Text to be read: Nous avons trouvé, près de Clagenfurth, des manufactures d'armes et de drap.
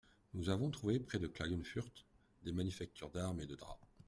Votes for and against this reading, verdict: 2, 0, accepted